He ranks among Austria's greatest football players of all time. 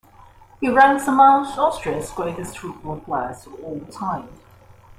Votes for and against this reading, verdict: 0, 2, rejected